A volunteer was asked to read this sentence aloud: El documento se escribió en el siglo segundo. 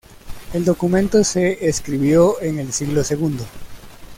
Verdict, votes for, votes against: accepted, 2, 0